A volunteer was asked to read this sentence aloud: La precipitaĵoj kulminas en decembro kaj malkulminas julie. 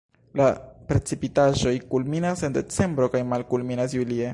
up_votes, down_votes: 1, 2